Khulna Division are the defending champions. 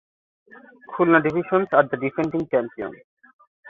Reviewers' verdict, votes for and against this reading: rejected, 1, 2